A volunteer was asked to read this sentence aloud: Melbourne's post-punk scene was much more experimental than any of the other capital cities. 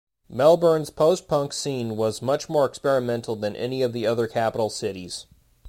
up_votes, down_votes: 2, 0